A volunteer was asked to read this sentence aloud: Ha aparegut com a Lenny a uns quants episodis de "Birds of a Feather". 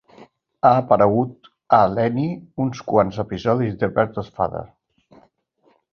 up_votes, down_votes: 0, 2